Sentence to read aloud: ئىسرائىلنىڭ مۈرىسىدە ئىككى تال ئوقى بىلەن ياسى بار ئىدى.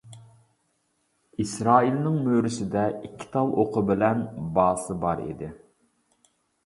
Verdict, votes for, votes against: rejected, 0, 2